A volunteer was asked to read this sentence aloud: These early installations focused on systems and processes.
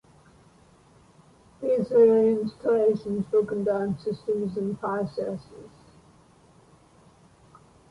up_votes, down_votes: 1, 2